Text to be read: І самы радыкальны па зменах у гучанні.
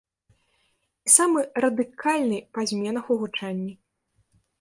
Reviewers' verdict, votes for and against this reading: rejected, 0, 2